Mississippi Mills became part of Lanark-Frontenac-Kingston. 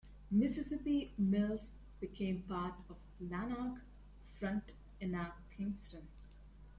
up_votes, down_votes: 1, 2